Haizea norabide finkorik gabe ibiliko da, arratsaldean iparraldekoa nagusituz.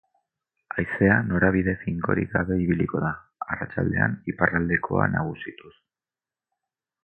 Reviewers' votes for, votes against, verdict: 4, 0, accepted